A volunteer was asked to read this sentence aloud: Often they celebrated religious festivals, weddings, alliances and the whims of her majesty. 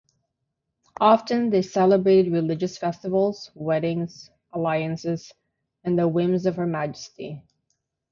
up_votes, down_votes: 3, 3